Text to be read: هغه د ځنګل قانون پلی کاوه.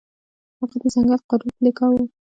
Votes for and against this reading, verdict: 1, 2, rejected